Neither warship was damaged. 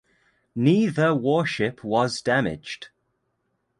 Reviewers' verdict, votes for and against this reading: accepted, 2, 1